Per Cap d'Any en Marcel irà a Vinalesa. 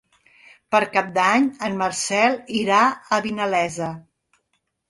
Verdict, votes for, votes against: accepted, 4, 0